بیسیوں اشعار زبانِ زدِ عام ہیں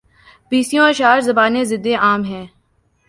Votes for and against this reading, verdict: 3, 0, accepted